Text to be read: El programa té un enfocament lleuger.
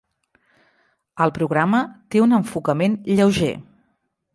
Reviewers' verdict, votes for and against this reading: accepted, 3, 0